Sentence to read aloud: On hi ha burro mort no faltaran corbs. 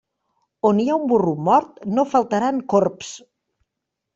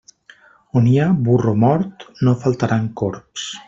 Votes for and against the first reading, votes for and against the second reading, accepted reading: 0, 2, 3, 1, second